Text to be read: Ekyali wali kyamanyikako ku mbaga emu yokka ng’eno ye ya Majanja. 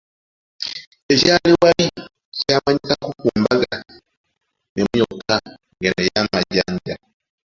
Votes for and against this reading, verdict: 0, 2, rejected